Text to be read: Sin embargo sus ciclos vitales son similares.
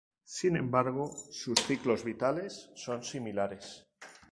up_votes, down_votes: 0, 2